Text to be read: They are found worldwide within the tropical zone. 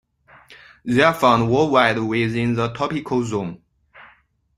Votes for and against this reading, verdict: 2, 0, accepted